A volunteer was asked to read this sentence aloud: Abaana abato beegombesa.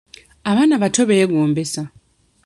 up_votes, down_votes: 2, 0